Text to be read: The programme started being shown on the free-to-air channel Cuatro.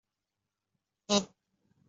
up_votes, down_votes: 0, 2